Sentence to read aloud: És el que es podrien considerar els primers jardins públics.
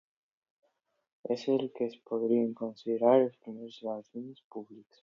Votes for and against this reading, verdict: 2, 0, accepted